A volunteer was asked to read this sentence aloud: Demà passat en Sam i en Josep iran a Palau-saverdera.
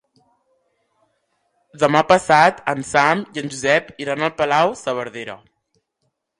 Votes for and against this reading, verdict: 0, 3, rejected